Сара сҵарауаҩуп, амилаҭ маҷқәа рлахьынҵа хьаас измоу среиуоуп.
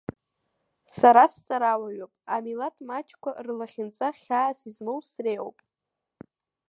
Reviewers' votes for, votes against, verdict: 0, 2, rejected